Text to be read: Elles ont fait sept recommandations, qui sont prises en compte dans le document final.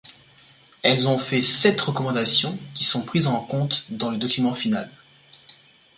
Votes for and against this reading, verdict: 2, 0, accepted